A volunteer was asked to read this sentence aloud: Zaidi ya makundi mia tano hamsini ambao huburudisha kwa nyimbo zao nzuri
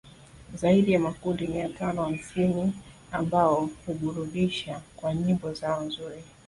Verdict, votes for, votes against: accepted, 3, 2